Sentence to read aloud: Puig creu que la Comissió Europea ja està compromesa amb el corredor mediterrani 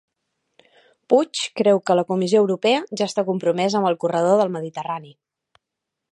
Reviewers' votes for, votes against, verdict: 1, 2, rejected